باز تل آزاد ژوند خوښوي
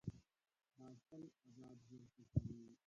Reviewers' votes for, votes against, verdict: 0, 2, rejected